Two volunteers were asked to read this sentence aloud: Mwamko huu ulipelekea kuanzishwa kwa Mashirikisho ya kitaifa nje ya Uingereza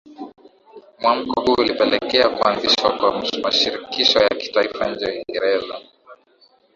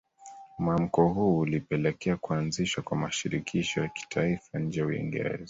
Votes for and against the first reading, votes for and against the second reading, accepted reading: 0, 2, 2, 1, second